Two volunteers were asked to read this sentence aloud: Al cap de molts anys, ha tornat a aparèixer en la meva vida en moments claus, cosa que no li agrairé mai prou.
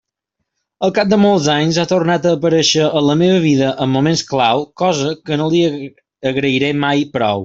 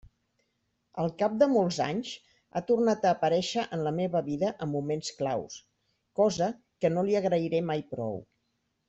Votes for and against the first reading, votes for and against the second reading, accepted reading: 0, 2, 2, 0, second